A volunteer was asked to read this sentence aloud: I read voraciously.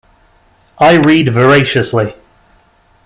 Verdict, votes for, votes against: accepted, 2, 0